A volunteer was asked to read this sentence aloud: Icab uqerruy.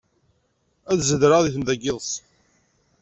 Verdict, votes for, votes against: rejected, 0, 2